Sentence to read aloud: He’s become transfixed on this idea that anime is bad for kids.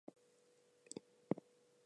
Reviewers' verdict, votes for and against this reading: rejected, 0, 2